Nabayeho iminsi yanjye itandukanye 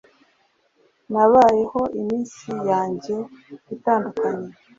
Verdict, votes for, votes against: accepted, 4, 0